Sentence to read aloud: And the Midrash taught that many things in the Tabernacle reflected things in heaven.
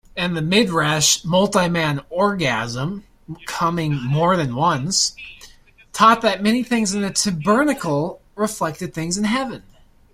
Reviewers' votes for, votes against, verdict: 1, 2, rejected